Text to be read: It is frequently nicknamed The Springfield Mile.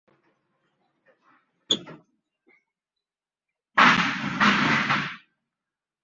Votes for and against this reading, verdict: 0, 3, rejected